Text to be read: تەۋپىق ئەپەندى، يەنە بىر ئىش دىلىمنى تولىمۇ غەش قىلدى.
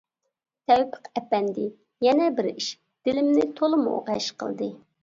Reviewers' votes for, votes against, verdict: 2, 0, accepted